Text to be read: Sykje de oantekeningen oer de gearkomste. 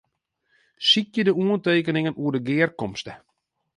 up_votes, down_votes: 2, 0